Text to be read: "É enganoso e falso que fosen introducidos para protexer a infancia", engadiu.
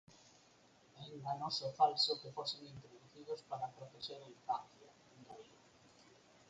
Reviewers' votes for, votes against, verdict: 6, 14, rejected